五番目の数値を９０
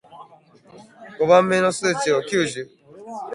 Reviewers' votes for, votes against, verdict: 0, 2, rejected